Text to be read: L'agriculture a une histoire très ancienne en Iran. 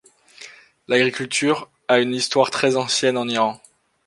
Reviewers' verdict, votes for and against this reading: accepted, 2, 0